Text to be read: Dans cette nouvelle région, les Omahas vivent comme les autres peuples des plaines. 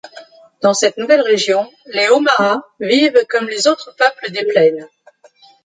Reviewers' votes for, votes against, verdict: 2, 0, accepted